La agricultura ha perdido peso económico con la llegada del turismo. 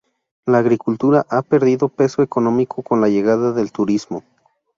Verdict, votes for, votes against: rejected, 0, 2